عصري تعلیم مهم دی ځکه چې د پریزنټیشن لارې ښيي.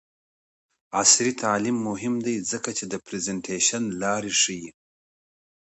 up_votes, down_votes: 2, 0